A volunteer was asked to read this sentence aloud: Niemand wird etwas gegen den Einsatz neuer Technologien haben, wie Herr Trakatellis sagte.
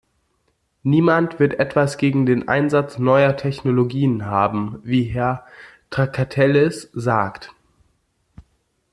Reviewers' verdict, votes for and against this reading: rejected, 1, 2